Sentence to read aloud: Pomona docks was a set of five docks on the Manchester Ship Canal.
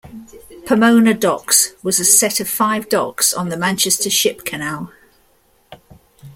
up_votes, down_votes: 0, 2